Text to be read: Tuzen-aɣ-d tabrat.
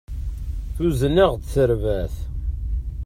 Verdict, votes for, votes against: rejected, 1, 2